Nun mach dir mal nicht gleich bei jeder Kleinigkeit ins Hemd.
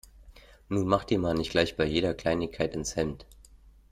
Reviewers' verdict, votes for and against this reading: accepted, 2, 0